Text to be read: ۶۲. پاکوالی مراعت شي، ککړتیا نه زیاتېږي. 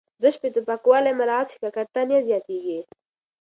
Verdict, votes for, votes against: rejected, 0, 2